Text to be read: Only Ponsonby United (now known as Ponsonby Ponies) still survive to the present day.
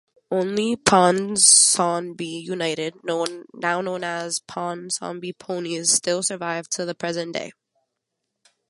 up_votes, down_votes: 0, 2